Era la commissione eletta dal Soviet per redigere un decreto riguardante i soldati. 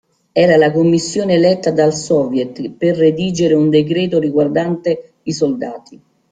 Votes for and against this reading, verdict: 2, 1, accepted